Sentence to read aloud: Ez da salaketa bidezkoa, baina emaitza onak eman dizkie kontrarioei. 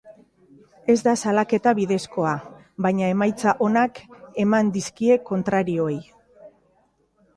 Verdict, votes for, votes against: accepted, 2, 0